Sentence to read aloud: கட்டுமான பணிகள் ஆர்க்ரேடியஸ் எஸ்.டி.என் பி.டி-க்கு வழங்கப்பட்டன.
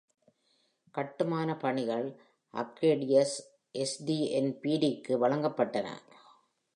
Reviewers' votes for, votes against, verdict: 1, 2, rejected